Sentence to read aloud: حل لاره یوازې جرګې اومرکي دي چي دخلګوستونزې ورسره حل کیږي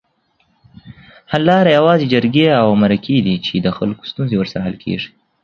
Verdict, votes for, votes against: accepted, 2, 0